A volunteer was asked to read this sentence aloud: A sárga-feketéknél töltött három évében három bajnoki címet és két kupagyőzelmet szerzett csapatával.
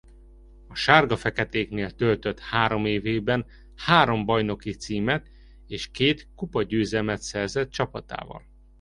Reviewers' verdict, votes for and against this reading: accepted, 2, 0